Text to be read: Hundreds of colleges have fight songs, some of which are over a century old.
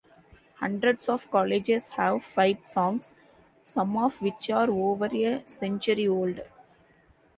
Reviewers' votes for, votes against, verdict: 2, 0, accepted